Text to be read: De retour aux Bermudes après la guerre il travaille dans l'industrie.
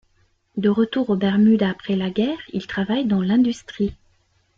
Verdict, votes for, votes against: accepted, 2, 0